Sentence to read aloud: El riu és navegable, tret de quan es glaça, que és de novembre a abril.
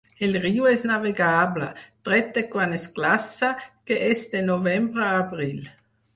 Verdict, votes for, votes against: accepted, 4, 0